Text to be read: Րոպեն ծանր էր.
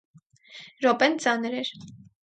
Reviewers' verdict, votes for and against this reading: accepted, 4, 0